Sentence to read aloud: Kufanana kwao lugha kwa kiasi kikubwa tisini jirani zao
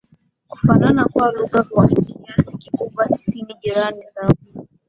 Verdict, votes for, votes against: accepted, 7, 6